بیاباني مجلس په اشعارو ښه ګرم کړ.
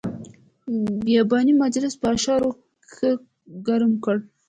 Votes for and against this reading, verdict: 2, 0, accepted